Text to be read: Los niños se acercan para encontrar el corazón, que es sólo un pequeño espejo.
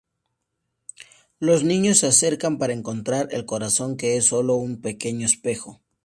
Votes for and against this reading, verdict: 2, 0, accepted